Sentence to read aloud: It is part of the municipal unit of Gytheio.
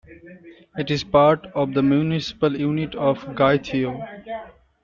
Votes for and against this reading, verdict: 2, 1, accepted